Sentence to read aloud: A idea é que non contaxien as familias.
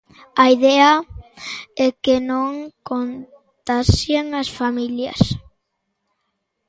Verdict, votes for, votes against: rejected, 1, 2